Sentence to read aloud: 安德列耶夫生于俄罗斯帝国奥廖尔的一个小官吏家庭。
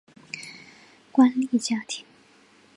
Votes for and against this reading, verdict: 0, 2, rejected